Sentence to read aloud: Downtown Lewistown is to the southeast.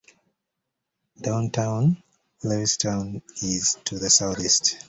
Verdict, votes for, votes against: accepted, 2, 0